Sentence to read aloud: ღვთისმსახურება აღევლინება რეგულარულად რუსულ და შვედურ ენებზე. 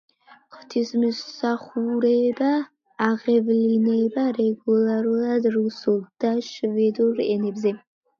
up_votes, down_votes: 0, 2